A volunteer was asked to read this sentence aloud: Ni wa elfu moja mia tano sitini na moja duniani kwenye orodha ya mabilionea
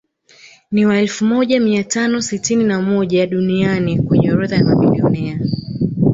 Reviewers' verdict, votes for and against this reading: rejected, 0, 2